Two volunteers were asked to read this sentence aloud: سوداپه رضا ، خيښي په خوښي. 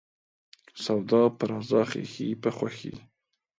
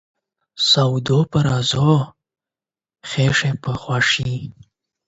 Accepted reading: first